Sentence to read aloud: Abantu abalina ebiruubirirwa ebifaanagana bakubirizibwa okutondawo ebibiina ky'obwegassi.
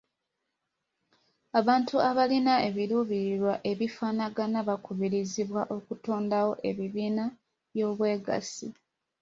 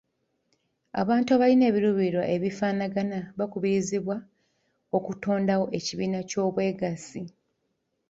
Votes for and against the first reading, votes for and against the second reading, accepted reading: 2, 0, 0, 2, first